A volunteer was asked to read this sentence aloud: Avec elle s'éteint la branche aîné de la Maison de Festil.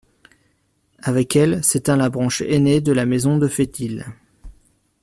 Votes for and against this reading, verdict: 2, 1, accepted